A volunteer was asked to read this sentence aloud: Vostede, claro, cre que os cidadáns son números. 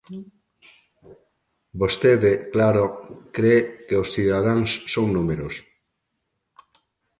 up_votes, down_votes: 2, 0